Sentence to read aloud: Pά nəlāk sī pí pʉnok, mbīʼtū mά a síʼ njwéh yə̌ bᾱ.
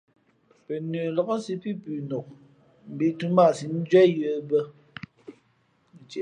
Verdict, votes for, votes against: rejected, 1, 2